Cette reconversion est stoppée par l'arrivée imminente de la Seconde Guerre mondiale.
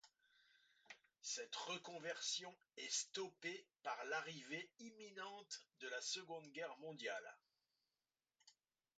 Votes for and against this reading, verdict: 1, 2, rejected